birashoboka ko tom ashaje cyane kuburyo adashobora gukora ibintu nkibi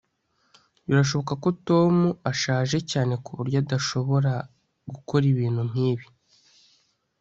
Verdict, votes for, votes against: accepted, 2, 0